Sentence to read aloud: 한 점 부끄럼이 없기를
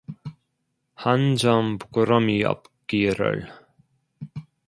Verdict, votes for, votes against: accepted, 2, 1